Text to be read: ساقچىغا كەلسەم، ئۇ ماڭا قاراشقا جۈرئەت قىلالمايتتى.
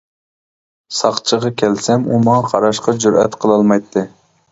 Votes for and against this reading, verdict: 2, 0, accepted